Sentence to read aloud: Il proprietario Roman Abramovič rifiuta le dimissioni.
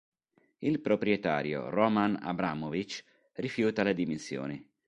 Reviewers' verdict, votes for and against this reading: accepted, 3, 0